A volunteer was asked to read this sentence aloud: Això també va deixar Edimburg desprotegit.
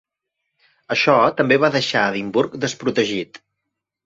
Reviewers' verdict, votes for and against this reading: accepted, 2, 0